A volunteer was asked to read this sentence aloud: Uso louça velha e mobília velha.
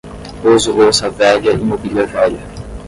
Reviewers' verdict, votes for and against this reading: accepted, 10, 0